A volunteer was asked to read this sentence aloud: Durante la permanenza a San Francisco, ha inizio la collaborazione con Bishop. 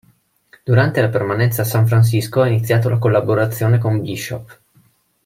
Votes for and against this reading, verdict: 0, 2, rejected